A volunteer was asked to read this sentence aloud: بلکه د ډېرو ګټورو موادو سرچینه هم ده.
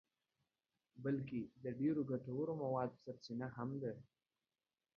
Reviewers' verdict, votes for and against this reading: rejected, 1, 2